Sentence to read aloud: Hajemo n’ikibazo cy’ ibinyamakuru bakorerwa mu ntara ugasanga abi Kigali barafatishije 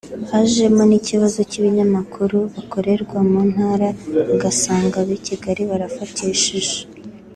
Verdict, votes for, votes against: accepted, 4, 3